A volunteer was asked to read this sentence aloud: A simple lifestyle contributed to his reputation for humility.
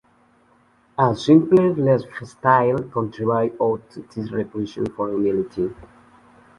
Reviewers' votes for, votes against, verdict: 0, 2, rejected